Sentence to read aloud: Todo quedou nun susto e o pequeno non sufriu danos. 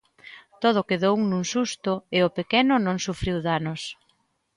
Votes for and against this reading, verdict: 2, 0, accepted